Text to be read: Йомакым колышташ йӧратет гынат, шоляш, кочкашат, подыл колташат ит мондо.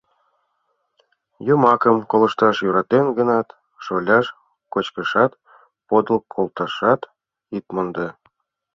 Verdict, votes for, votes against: rejected, 0, 2